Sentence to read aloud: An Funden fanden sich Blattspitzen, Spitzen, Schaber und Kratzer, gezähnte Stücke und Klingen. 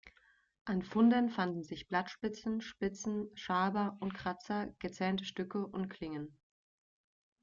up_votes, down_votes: 2, 0